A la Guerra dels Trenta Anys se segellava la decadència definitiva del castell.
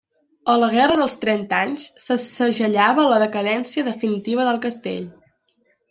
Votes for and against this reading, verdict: 3, 0, accepted